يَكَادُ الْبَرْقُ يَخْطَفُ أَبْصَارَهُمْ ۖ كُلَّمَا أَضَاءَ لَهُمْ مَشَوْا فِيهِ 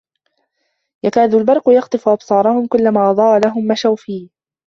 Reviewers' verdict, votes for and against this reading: accepted, 2, 1